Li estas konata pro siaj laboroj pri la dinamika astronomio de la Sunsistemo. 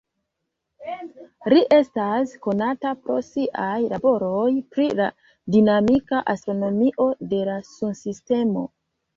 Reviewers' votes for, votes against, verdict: 2, 0, accepted